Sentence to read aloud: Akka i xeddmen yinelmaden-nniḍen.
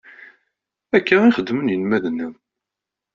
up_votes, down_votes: 2, 1